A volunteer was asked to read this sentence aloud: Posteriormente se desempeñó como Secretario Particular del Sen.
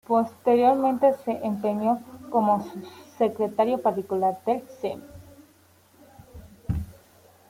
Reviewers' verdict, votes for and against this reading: rejected, 0, 2